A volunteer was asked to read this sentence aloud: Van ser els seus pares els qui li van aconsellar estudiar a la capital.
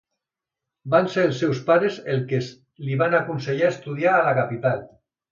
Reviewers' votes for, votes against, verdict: 1, 2, rejected